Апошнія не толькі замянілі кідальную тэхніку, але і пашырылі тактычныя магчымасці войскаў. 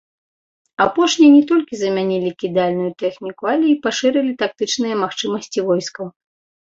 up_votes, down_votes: 2, 0